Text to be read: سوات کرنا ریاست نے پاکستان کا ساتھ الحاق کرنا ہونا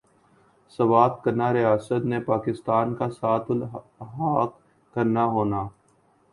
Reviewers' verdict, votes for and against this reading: rejected, 1, 3